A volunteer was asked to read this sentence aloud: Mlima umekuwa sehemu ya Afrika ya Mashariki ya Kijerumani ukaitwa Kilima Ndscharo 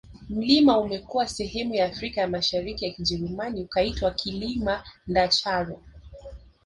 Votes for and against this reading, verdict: 1, 2, rejected